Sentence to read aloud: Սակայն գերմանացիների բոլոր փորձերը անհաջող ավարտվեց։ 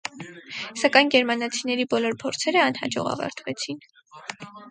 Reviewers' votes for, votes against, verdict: 0, 4, rejected